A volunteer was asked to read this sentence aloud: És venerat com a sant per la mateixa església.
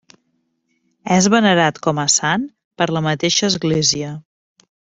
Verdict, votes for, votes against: accepted, 3, 0